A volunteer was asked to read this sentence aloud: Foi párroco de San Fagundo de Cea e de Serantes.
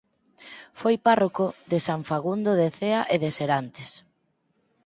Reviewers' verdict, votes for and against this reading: accepted, 4, 0